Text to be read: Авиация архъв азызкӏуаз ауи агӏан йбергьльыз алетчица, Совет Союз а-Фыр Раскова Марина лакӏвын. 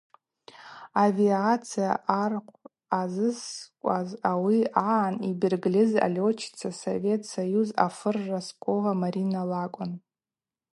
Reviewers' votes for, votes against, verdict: 0, 2, rejected